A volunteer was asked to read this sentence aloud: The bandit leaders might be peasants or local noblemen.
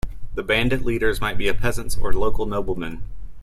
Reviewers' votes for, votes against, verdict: 0, 2, rejected